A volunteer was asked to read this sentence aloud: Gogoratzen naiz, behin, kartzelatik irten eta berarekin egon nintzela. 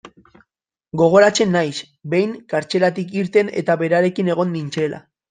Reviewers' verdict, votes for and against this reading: accepted, 2, 0